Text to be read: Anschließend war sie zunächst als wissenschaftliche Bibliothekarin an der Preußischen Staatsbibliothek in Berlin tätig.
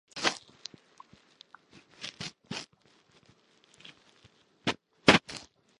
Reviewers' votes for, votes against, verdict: 0, 3, rejected